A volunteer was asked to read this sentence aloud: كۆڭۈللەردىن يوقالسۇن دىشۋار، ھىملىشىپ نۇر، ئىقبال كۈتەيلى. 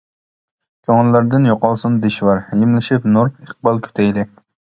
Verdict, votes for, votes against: rejected, 1, 2